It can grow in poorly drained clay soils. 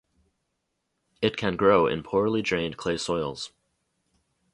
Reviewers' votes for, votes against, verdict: 0, 2, rejected